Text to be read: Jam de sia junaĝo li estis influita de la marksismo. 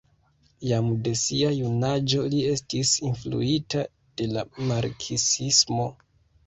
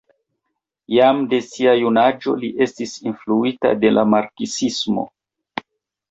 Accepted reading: second